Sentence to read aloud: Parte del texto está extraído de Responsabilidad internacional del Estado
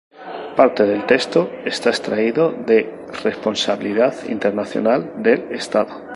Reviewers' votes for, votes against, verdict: 4, 2, accepted